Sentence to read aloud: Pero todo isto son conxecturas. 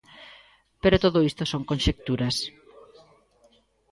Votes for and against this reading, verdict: 2, 0, accepted